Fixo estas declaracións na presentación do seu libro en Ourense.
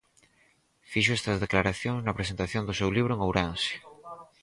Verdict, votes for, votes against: accepted, 4, 0